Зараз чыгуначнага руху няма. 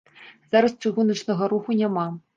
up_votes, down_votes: 2, 0